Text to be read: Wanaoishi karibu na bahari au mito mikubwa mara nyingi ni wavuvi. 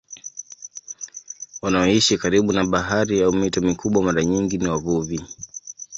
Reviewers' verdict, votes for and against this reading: accepted, 8, 4